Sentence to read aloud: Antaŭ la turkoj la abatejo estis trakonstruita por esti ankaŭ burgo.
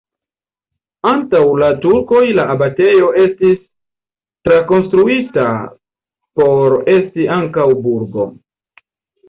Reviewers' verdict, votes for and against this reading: accepted, 2, 0